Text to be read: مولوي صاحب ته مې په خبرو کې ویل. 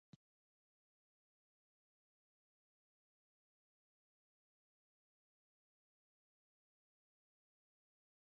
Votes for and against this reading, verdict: 0, 2, rejected